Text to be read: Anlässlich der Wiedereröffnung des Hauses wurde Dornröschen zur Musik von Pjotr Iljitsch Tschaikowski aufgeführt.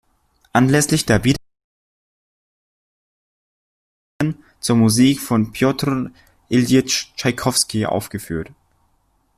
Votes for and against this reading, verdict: 0, 2, rejected